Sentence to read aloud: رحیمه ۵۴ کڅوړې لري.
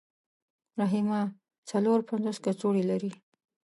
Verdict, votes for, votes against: rejected, 0, 2